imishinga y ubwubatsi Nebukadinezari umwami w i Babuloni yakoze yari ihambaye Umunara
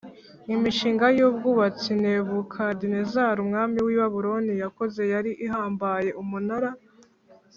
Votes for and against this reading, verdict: 2, 0, accepted